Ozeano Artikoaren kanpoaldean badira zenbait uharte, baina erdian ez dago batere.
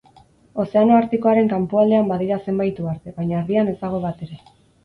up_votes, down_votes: 4, 0